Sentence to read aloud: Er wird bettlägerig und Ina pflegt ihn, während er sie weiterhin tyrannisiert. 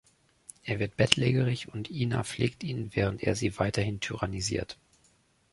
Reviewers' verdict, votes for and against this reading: rejected, 0, 2